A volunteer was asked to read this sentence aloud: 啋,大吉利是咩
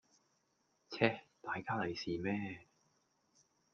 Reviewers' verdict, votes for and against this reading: rejected, 0, 2